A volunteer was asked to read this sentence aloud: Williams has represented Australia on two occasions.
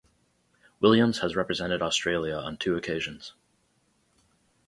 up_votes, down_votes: 4, 0